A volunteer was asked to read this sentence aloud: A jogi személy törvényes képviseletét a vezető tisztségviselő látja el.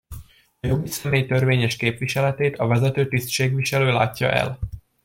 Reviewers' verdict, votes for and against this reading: accepted, 2, 0